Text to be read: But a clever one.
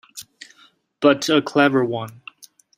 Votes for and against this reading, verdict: 2, 0, accepted